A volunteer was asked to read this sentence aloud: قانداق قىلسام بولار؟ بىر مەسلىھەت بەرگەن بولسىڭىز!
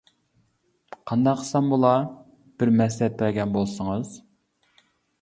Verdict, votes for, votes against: accepted, 2, 0